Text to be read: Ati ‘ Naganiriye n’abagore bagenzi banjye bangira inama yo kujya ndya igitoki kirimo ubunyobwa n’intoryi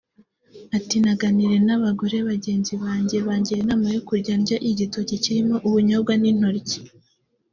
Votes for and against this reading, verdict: 3, 0, accepted